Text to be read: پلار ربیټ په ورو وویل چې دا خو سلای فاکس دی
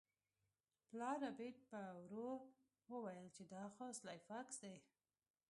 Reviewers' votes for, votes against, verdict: 1, 2, rejected